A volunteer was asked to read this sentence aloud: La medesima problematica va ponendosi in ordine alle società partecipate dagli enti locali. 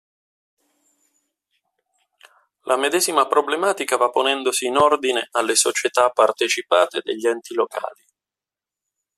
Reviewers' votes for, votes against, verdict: 4, 0, accepted